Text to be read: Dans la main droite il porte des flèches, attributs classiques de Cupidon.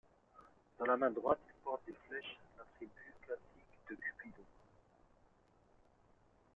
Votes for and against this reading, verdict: 2, 0, accepted